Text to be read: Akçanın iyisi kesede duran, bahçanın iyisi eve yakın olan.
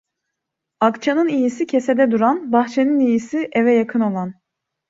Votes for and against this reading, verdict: 2, 0, accepted